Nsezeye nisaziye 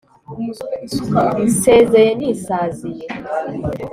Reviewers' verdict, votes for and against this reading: accepted, 2, 0